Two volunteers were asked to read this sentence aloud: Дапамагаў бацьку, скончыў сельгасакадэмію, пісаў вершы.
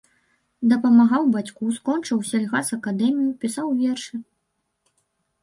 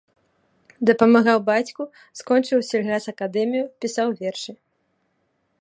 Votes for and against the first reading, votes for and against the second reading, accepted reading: 1, 3, 2, 0, second